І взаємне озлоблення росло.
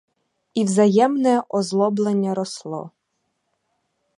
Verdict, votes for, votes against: accepted, 4, 0